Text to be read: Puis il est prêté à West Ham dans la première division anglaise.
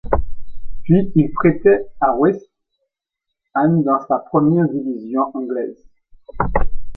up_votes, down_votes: 0, 2